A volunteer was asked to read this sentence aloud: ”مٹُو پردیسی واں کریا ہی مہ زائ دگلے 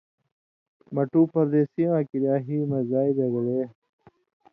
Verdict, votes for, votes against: accepted, 2, 0